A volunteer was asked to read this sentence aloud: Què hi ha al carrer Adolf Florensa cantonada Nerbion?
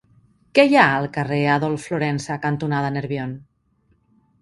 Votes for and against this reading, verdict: 2, 0, accepted